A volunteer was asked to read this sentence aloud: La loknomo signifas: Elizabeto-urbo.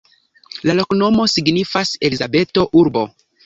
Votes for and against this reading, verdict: 2, 0, accepted